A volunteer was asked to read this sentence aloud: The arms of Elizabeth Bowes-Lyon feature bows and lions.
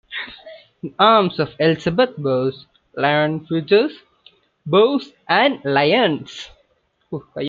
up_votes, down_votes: 1, 2